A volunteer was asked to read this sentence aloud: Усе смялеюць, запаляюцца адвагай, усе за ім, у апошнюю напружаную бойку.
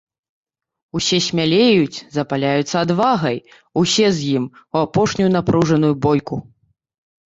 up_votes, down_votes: 1, 2